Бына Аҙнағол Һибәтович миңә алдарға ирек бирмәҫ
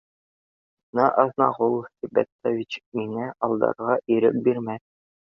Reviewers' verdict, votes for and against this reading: accepted, 2, 0